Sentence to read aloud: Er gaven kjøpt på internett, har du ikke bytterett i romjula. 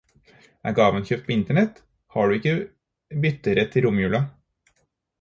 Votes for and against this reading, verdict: 4, 0, accepted